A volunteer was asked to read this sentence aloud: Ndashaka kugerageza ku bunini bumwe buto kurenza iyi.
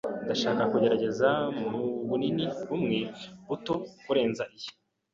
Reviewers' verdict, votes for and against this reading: rejected, 0, 2